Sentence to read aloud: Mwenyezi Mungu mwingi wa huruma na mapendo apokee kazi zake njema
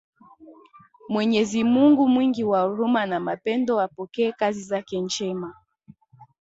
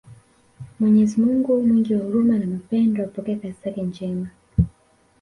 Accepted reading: first